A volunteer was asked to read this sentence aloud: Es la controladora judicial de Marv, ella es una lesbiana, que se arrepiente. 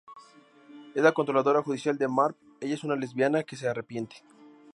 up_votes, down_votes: 2, 0